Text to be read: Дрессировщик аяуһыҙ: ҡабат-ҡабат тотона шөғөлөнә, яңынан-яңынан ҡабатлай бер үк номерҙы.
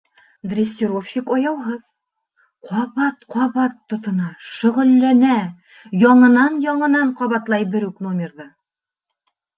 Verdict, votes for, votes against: rejected, 0, 2